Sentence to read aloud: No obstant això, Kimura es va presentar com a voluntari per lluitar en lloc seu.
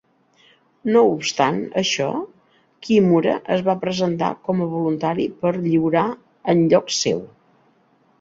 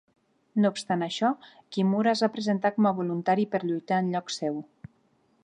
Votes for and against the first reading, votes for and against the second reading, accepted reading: 1, 2, 3, 0, second